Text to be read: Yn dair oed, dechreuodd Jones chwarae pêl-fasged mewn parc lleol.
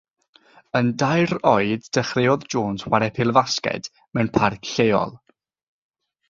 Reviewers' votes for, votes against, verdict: 3, 0, accepted